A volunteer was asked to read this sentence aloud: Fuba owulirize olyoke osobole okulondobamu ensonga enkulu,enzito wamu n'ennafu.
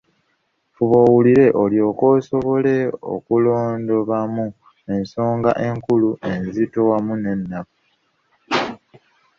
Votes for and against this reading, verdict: 0, 2, rejected